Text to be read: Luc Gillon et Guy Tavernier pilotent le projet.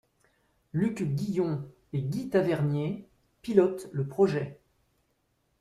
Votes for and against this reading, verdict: 1, 2, rejected